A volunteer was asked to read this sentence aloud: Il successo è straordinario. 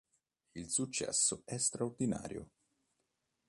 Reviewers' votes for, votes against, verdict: 2, 0, accepted